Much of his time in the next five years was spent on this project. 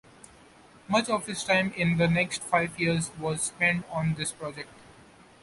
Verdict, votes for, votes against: accepted, 2, 0